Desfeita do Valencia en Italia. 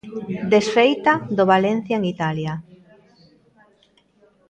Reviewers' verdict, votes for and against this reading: rejected, 1, 2